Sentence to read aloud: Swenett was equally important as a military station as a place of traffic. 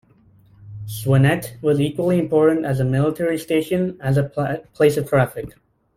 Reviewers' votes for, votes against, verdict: 0, 2, rejected